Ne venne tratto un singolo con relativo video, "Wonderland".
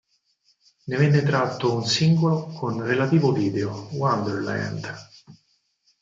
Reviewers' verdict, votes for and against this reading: rejected, 2, 4